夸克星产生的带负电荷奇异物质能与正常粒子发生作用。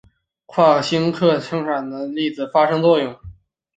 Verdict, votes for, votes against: rejected, 1, 3